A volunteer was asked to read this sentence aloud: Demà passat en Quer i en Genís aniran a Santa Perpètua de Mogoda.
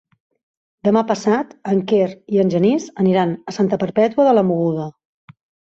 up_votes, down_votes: 1, 2